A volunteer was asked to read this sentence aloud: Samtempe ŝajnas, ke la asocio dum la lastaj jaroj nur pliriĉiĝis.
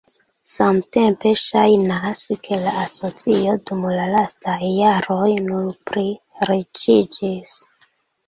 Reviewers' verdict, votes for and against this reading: accepted, 2, 0